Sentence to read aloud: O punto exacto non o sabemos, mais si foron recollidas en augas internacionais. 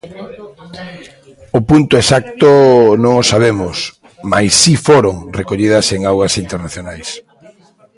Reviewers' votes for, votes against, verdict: 1, 2, rejected